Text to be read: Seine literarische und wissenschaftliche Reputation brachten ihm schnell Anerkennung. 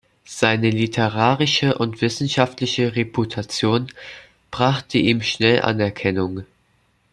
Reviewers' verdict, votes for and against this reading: rejected, 1, 2